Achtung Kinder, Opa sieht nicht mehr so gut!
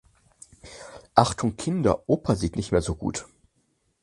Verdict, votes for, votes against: accepted, 4, 0